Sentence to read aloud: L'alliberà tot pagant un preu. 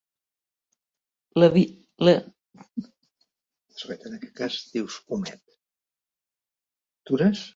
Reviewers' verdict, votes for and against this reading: rejected, 0, 2